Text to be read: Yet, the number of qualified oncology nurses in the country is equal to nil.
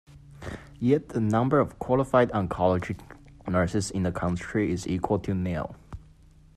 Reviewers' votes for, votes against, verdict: 2, 0, accepted